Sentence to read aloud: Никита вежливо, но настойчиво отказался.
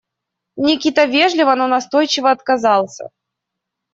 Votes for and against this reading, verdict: 2, 0, accepted